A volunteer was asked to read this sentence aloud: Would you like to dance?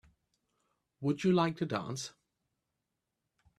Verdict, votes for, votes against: accepted, 2, 0